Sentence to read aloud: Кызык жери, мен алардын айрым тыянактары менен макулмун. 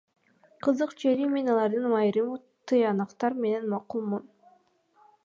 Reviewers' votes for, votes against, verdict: 2, 0, accepted